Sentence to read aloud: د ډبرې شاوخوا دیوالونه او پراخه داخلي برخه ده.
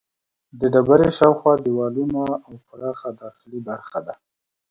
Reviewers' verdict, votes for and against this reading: accepted, 3, 0